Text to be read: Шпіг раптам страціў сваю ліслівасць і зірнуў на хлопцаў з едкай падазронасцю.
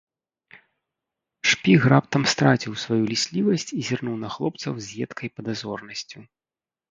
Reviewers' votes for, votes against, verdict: 0, 2, rejected